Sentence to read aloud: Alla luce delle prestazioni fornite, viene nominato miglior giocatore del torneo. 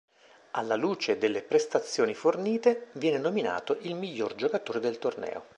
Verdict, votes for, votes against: rejected, 2, 3